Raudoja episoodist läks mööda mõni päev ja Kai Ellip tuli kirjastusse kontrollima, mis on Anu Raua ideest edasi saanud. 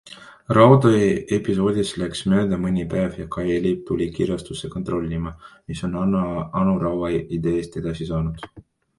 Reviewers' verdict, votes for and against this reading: accepted, 2, 1